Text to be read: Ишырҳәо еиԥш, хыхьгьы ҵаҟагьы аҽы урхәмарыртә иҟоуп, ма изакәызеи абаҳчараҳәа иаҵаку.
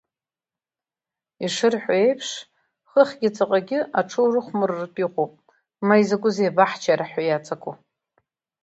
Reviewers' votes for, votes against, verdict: 2, 0, accepted